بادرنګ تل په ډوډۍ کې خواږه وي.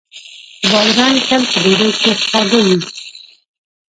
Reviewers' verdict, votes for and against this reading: rejected, 0, 2